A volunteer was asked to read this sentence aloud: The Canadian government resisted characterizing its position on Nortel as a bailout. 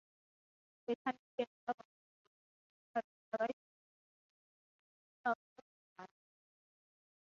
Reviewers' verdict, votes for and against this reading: rejected, 0, 3